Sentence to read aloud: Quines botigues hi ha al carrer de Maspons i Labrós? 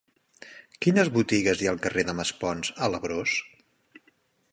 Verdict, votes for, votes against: rejected, 0, 2